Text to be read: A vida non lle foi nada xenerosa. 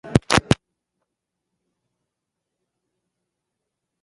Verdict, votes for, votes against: rejected, 0, 4